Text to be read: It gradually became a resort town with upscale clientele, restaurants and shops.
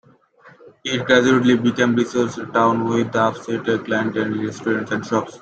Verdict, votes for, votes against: rejected, 0, 2